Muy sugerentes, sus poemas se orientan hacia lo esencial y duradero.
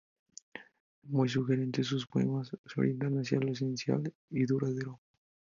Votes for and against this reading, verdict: 0, 2, rejected